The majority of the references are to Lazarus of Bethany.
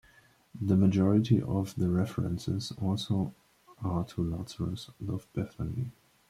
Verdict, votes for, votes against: rejected, 0, 2